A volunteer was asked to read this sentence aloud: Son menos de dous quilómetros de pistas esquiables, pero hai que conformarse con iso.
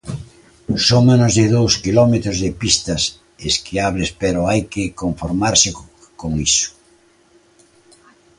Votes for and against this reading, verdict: 2, 1, accepted